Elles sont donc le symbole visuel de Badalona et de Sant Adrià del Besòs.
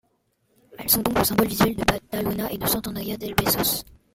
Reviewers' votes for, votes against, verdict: 1, 2, rejected